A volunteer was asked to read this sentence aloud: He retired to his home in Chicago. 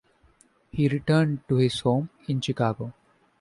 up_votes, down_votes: 1, 2